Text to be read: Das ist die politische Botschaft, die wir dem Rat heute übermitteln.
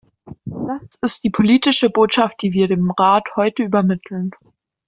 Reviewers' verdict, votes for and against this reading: accepted, 2, 1